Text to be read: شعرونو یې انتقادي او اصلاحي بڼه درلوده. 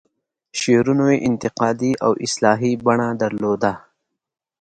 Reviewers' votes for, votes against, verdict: 2, 0, accepted